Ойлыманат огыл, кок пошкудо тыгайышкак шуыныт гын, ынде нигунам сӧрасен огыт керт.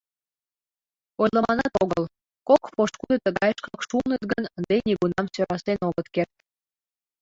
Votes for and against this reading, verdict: 0, 2, rejected